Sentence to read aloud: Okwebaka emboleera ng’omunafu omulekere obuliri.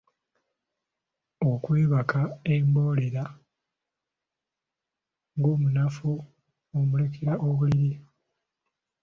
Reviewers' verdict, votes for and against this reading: rejected, 0, 2